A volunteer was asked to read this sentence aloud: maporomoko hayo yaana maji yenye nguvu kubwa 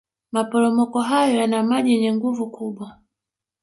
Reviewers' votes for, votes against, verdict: 2, 0, accepted